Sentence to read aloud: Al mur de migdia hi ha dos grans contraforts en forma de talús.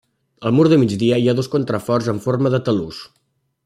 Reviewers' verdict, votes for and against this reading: rejected, 0, 2